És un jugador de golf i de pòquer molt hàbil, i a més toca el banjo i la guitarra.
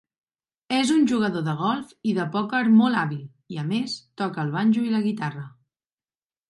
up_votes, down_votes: 3, 0